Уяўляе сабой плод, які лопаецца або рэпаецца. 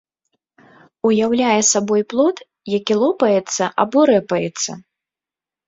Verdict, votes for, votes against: accepted, 2, 0